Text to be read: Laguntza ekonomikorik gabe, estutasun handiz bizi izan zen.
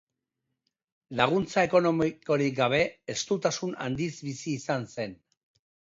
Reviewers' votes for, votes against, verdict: 1, 2, rejected